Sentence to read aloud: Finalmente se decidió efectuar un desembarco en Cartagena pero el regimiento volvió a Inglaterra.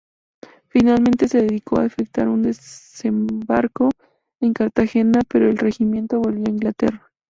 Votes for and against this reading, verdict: 0, 2, rejected